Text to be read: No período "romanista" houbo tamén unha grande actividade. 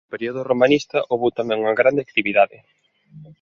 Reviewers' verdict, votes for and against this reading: accepted, 2, 0